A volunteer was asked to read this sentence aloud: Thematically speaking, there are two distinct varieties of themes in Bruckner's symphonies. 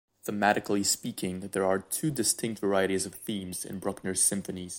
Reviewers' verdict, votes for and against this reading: accepted, 2, 0